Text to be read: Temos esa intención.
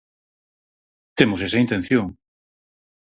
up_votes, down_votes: 4, 0